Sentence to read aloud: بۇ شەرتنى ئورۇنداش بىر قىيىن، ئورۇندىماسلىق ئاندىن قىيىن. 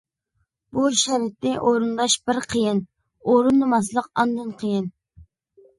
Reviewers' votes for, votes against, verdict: 2, 1, accepted